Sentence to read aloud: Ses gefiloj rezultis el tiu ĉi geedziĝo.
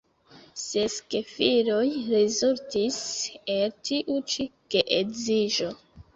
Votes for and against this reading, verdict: 2, 0, accepted